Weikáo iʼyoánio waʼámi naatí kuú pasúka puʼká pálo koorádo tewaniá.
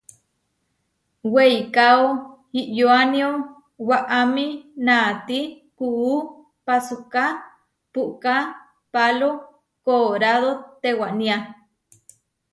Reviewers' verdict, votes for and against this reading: accepted, 2, 0